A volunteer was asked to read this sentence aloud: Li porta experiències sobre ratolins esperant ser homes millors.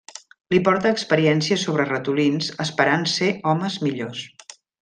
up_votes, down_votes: 2, 0